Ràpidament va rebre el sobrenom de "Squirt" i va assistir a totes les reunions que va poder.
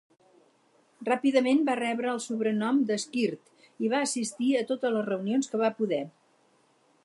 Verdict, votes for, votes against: accepted, 4, 0